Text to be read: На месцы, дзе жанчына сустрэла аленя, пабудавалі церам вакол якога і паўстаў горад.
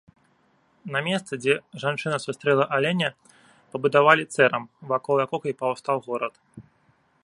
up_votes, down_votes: 0, 2